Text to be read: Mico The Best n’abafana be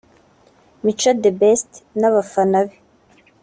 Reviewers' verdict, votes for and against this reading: accepted, 2, 0